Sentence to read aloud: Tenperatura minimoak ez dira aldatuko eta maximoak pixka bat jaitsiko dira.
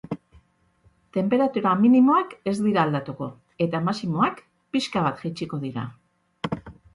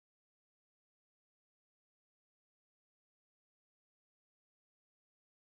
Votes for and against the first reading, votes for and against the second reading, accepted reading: 4, 0, 0, 3, first